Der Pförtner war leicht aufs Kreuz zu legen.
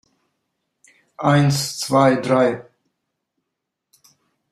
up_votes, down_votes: 0, 2